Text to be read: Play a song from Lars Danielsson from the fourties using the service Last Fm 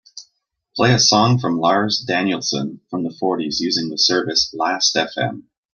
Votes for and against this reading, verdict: 2, 0, accepted